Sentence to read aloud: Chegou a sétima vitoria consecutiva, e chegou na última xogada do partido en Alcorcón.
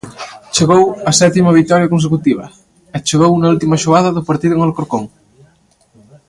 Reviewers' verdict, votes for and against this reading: rejected, 0, 2